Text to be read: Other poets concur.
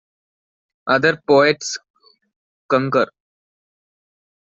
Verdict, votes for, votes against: accepted, 2, 0